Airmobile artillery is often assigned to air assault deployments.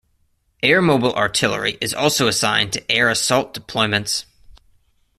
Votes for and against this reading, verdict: 1, 2, rejected